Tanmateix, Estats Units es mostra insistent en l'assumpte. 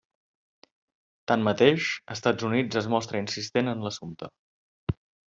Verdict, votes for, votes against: accepted, 3, 0